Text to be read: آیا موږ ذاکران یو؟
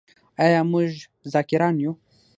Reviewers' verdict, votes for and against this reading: rejected, 3, 6